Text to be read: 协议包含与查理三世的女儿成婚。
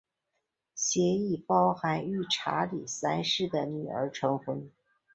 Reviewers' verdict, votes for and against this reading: accepted, 4, 1